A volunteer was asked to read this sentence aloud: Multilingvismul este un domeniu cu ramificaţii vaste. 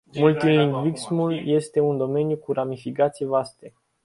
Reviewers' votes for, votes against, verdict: 1, 2, rejected